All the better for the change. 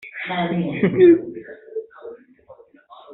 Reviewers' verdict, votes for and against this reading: rejected, 1, 2